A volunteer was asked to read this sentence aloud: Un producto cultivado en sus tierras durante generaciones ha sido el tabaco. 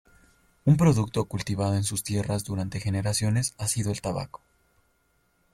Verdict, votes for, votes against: accepted, 2, 0